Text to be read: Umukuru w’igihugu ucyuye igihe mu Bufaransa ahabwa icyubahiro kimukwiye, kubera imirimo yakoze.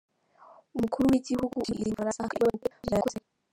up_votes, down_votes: 1, 2